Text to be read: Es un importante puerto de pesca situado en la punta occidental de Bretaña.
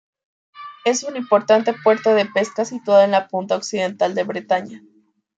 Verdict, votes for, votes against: rejected, 1, 2